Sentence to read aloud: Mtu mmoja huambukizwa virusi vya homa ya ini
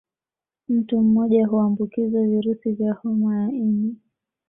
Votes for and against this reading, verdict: 2, 0, accepted